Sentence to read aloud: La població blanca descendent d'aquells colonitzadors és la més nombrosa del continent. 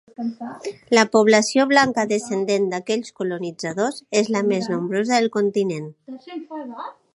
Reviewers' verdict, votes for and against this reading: accepted, 4, 1